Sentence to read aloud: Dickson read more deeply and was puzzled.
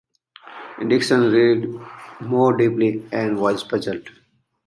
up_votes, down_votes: 2, 1